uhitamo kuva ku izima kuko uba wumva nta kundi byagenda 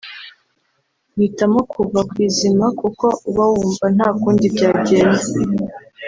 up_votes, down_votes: 0, 2